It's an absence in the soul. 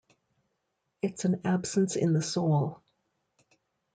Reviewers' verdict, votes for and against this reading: accepted, 2, 0